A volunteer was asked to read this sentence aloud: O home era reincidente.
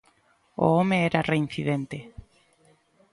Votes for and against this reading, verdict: 2, 0, accepted